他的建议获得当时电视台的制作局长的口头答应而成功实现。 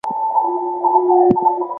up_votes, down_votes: 1, 3